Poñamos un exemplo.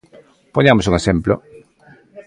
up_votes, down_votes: 2, 0